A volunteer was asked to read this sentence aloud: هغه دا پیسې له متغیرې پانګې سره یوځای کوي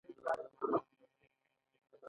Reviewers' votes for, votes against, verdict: 1, 2, rejected